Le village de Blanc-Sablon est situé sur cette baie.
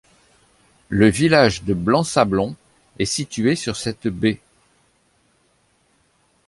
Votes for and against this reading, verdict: 2, 0, accepted